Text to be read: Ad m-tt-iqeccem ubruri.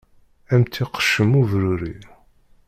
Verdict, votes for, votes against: accepted, 2, 0